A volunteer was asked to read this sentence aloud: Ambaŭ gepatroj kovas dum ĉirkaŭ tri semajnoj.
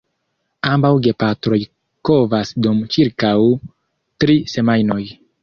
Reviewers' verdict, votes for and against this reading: rejected, 1, 2